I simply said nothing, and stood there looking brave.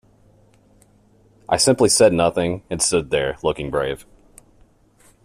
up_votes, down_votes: 2, 0